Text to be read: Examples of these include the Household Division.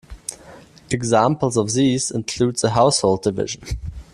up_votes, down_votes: 2, 0